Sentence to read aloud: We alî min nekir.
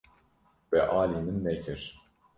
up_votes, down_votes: 1, 2